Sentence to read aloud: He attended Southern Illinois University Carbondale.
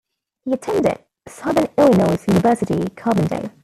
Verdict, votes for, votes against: rejected, 1, 2